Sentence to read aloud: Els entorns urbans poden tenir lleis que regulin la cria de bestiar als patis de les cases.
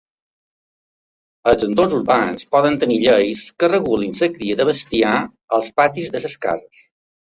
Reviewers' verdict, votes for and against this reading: rejected, 1, 2